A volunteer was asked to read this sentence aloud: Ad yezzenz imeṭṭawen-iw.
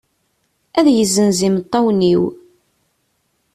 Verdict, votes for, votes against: accepted, 2, 0